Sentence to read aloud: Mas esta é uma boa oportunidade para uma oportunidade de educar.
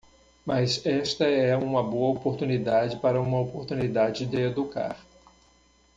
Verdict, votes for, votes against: accepted, 2, 0